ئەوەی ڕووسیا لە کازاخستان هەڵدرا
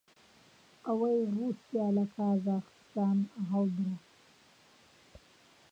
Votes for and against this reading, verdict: 0, 2, rejected